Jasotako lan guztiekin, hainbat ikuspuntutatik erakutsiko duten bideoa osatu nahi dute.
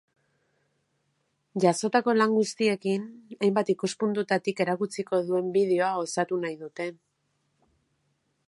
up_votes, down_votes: 0, 2